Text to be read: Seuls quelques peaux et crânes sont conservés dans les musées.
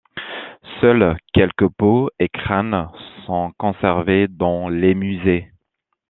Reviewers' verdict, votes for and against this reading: accepted, 2, 0